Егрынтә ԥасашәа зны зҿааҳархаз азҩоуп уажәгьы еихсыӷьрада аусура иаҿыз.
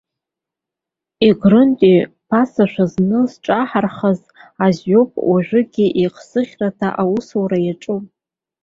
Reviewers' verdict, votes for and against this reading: rejected, 0, 2